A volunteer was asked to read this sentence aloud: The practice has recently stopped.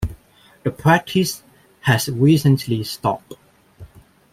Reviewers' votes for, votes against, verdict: 1, 2, rejected